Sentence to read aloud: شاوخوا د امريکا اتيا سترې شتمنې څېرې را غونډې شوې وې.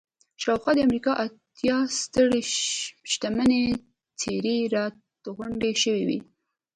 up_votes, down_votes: 1, 2